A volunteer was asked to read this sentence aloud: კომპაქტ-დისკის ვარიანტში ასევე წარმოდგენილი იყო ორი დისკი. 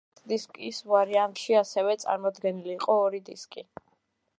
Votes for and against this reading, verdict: 0, 2, rejected